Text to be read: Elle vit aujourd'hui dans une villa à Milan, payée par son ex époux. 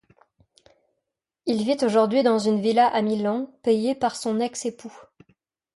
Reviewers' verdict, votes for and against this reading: rejected, 1, 2